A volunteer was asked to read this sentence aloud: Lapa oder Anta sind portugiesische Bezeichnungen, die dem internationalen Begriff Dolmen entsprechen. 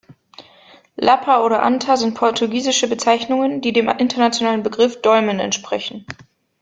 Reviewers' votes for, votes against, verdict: 1, 2, rejected